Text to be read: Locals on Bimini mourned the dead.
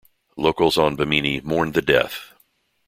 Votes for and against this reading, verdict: 0, 2, rejected